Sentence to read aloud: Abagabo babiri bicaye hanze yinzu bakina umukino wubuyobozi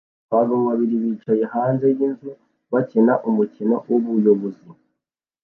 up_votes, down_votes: 2, 0